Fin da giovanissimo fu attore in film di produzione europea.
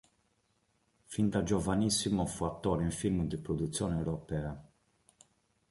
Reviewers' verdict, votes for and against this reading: accepted, 2, 0